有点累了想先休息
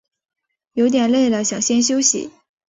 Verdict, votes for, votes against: accepted, 2, 0